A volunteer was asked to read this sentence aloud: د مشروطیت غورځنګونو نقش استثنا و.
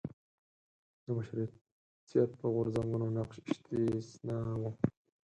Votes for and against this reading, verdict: 6, 4, accepted